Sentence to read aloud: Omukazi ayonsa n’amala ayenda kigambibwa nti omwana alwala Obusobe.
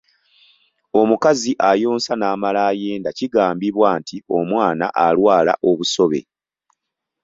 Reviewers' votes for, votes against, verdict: 2, 0, accepted